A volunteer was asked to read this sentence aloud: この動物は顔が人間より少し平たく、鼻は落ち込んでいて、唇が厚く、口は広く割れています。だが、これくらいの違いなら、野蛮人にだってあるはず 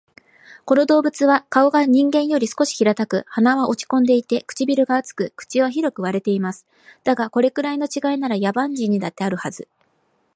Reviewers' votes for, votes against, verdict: 2, 0, accepted